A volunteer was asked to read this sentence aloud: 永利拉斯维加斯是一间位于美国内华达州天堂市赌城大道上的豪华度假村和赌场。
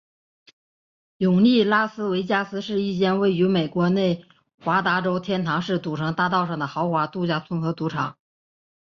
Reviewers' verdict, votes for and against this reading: accepted, 2, 0